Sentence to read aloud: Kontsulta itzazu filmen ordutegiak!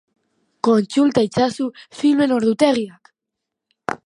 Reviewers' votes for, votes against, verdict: 1, 2, rejected